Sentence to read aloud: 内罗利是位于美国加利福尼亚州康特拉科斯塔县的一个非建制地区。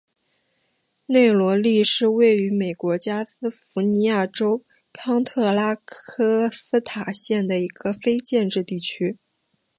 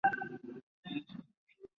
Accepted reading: first